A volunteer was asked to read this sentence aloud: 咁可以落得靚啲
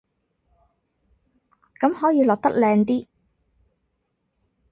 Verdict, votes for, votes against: rejected, 0, 2